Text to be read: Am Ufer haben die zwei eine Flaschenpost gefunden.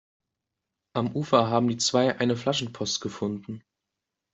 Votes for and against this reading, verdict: 2, 0, accepted